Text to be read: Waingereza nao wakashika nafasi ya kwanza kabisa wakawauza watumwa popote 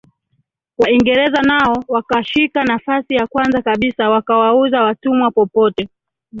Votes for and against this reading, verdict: 2, 1, accepted